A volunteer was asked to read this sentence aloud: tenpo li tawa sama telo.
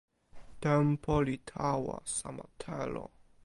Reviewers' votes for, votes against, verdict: 2, 0, accepted